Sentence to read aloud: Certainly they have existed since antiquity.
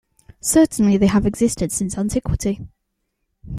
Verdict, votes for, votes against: accepted, 2, 0